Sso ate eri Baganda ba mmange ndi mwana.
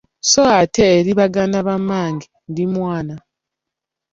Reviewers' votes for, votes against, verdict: 2, 0, accepted